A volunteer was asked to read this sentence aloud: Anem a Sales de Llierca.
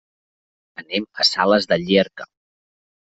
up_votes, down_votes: 3, 0